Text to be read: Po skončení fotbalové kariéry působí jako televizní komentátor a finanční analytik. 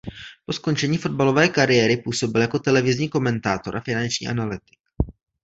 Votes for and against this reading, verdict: 1, 2, rejected